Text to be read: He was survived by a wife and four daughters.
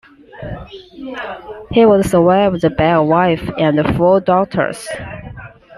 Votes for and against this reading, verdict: 2, 0, accepted